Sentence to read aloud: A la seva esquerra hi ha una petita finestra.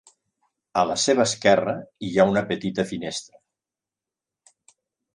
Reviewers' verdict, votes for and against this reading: accepted, 4, 0